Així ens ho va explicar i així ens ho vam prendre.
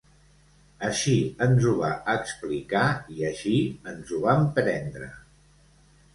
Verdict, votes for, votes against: accepted, 2, 0